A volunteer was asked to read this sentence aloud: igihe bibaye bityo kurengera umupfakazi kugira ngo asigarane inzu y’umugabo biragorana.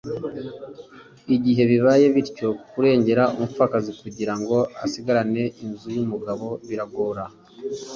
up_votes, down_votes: 0, 2